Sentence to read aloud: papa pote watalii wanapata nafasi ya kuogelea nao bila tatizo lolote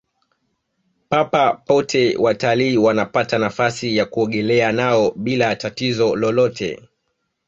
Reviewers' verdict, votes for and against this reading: accepted, 2, 1